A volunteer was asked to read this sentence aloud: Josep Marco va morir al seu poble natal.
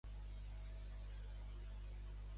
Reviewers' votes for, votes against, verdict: 1, 2, rejected